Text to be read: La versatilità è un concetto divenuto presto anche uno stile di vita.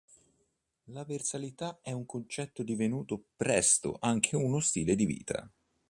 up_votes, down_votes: 2, 0